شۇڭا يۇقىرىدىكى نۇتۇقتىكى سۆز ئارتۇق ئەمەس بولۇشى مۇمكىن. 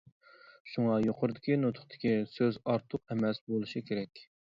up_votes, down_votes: 0, 2